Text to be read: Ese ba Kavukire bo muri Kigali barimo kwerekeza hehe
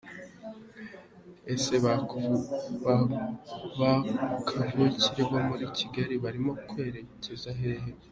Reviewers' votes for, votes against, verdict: 2, 0, accepted